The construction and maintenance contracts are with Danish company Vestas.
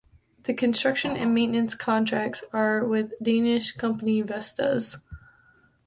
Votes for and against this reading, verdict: 2, 0, accepted